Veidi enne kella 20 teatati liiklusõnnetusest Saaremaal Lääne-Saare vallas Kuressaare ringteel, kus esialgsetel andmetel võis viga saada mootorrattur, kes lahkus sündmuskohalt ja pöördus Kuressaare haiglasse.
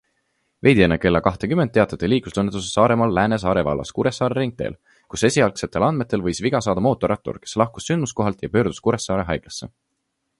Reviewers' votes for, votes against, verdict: 0, 2, rejected